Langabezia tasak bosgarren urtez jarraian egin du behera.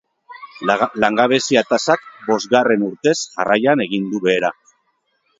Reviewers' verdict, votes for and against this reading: rejected, 1, 2